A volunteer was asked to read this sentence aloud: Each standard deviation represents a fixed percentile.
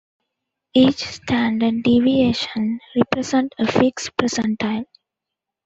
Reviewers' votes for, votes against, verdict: 0, 2, rejected